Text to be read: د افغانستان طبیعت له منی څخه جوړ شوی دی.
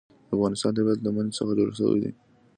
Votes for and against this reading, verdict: 2, 0, accepted